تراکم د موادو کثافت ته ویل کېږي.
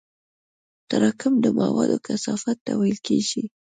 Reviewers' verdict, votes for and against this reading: accepted, 2, 0